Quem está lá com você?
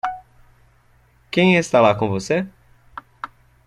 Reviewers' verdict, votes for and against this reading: accepted, 2, 0